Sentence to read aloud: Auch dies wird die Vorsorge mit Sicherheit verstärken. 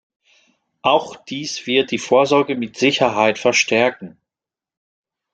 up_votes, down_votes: 2, 0